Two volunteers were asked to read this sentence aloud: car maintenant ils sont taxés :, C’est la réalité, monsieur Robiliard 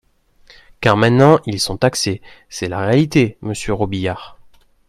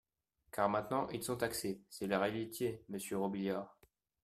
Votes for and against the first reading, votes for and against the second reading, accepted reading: 2, 0, 1, 2, first